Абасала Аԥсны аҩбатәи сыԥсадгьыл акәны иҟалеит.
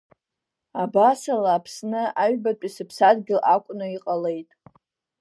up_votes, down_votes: 0, 2